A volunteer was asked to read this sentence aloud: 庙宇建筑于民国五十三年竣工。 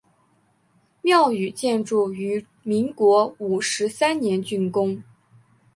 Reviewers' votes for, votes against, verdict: 4, 0, accepted